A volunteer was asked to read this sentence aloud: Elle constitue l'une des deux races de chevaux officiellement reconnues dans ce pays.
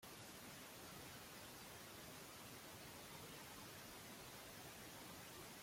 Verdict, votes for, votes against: rejected, 0, 2